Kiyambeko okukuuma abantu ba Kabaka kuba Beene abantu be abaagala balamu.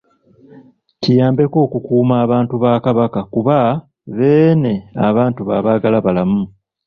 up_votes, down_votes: 3, 0